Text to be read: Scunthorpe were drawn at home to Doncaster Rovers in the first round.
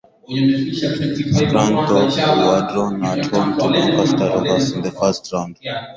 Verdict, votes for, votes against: rejected, 0, 4